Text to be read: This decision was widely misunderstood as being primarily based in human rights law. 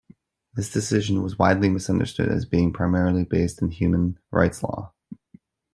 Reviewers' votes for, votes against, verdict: 2, 0, accepted